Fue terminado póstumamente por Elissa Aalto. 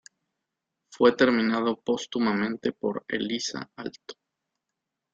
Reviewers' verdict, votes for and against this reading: accepted, 2, 1